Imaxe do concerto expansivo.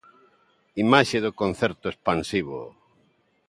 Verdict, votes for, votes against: accepted, 2, 0